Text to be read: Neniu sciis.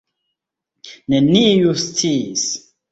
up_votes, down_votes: 0, 2